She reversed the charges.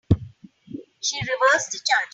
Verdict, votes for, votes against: rejected, 2, 5